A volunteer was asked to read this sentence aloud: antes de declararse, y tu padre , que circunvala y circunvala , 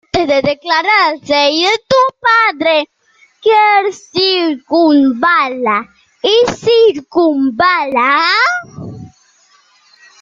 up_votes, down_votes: 0, 2